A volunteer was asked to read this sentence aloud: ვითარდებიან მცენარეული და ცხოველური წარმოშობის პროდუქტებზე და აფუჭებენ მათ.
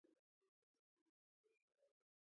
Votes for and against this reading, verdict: 0, 2, rejected